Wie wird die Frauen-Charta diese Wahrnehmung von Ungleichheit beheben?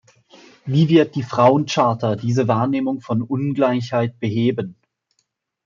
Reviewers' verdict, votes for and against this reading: accepted, 2, 0